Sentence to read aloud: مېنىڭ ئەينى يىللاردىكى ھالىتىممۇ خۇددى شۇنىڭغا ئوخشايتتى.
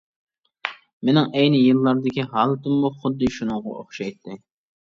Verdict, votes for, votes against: accepted, 2, 0